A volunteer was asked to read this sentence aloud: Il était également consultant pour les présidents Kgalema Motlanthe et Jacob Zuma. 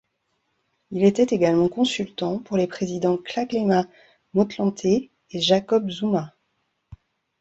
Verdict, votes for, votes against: rejected, 1, 2